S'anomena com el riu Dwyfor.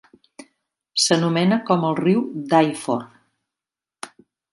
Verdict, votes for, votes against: rejected, 1, 2